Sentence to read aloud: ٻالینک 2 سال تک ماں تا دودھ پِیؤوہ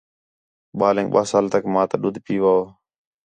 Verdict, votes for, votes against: rejected, 0, 2